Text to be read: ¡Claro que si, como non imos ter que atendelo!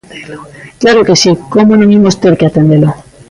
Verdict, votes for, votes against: rejected, 1, 2